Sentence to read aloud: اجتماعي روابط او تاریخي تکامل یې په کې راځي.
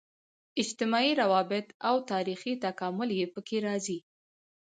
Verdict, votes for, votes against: accepted, 2, 0